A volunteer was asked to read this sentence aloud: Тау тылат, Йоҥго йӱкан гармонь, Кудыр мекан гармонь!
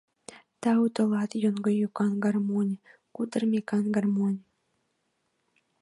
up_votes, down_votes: 1, 2